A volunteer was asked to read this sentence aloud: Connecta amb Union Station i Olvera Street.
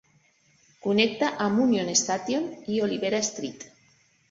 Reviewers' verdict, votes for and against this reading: rejected, 1, 2